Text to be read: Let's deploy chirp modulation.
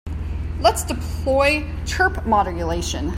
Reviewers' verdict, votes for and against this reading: rejected, 1, 2